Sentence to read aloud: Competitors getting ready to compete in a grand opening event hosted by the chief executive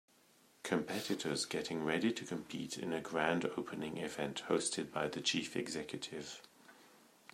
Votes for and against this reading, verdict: 2, 1, accepted